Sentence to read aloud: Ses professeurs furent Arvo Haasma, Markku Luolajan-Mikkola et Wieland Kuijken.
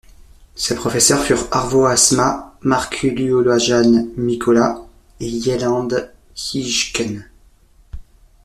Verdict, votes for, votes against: rejected, 0, 2